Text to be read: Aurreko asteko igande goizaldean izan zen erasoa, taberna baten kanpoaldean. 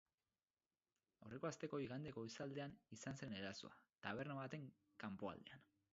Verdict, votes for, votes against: accepted, 6, 2